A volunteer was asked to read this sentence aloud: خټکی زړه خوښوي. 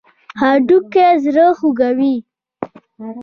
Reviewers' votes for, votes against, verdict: 0, 2, rejected